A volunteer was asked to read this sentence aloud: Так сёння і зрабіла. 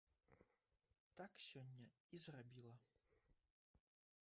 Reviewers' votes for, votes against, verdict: 0, 2, rejected